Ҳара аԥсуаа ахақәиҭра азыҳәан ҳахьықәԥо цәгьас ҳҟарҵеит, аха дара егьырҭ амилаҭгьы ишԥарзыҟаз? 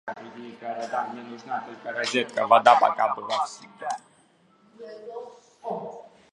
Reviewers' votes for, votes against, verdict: 1, 2, rejected